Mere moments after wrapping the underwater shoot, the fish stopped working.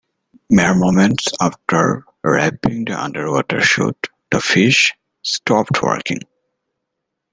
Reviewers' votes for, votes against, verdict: 2, 0, accepted